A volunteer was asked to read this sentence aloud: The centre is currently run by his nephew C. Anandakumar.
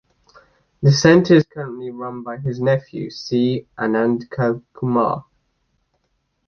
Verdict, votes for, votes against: rejected, 1, 2